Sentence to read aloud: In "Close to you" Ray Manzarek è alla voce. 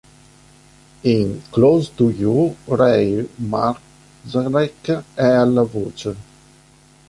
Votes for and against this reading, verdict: 1, 2, rejected